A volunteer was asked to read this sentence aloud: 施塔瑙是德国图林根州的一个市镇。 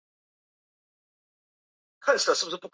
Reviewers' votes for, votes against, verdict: 0, 5, rejected